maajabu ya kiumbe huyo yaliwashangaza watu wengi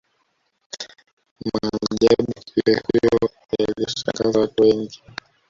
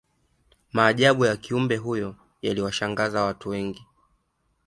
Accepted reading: second